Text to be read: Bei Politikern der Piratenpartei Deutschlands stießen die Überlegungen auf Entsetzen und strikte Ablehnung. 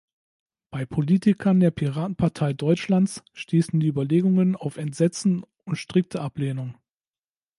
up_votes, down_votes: 0, 2